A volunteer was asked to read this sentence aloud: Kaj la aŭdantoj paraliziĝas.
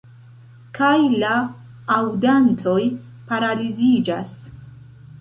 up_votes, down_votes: 2, 1